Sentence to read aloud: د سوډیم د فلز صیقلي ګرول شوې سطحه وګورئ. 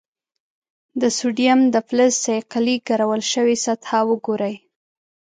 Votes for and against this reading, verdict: 2, 0, accepted